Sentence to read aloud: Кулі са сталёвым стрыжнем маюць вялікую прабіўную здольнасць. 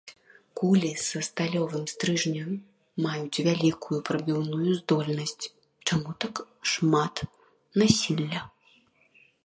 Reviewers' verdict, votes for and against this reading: rejected, 0, 2